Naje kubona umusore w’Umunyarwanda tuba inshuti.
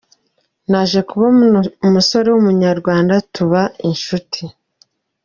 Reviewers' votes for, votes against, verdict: 2, 0, accepted